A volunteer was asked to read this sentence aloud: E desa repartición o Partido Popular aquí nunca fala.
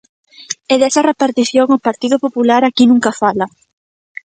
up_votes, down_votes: 2, 0